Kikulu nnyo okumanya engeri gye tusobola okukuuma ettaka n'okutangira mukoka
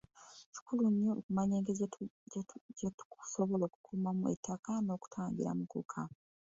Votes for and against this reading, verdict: 0, 2, rejected